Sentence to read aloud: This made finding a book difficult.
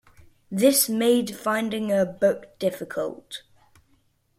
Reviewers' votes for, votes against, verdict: 2, 0, accepted